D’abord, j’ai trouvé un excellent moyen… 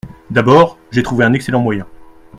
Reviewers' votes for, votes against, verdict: 2, 0, accepted